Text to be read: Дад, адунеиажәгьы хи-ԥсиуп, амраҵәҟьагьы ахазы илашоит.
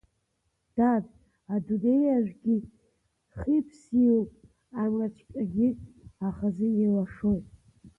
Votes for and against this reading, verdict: 0, 2, rejected